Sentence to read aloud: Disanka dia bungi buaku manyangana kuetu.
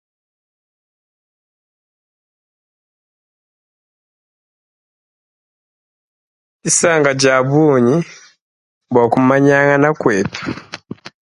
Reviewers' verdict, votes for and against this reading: accepted, 2, 0